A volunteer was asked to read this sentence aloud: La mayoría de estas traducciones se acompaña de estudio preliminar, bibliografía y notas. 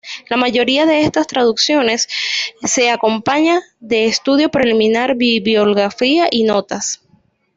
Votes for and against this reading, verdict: 1, 2, rejected